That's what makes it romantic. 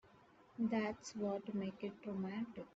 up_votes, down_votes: 0, 2